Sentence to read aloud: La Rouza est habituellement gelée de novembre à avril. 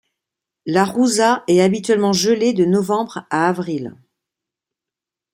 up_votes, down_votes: 2, 0